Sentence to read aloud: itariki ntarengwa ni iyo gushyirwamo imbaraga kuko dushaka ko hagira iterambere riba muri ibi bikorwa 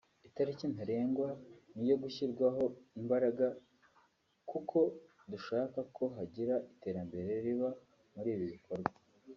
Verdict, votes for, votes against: accepted, 2, 0